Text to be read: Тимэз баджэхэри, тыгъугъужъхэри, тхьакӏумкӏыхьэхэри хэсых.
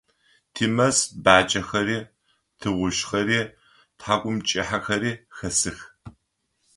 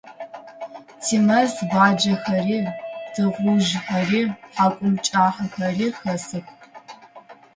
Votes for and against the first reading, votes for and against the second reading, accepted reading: 3, 0, 0, 2, first